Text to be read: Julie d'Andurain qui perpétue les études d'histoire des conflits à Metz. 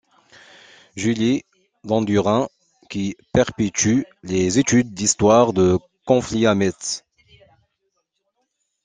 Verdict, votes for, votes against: rejected, 1, 2